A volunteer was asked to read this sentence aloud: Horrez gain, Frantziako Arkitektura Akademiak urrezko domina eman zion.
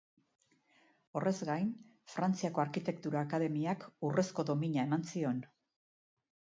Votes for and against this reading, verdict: 2, 0, accepted